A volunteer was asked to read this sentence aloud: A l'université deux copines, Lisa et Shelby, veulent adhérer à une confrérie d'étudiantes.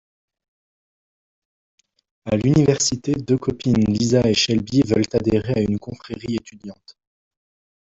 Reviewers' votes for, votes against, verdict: 0, 2, rejected